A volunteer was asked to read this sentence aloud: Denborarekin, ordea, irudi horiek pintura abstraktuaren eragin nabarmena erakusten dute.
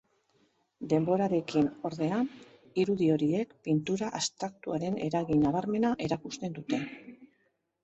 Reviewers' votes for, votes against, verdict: 1, 2, rejected